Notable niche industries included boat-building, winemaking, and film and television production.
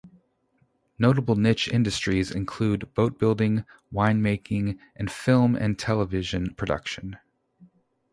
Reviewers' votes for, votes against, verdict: 0, 2, rejected